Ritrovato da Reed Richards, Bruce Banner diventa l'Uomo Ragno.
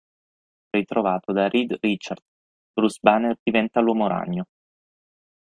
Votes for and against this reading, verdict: 6, 9, rejected